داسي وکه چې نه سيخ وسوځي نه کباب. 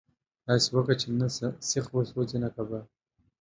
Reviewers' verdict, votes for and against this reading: accepted, 2, 0